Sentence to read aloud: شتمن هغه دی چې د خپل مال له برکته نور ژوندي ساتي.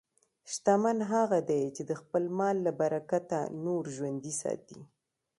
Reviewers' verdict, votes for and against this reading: accepted, 2, 1